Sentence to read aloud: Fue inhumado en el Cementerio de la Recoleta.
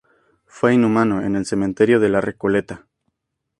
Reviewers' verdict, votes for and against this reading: rejected, 2, 2